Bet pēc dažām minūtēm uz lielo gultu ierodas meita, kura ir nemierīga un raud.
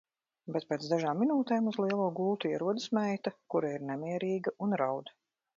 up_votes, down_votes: 1, 2